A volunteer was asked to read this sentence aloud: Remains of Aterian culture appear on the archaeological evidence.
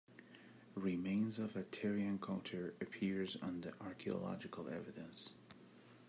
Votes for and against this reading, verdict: 1, 2, rejected